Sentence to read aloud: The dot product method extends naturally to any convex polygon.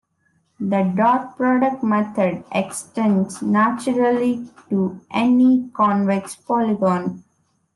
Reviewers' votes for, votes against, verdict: 2, 0, accepted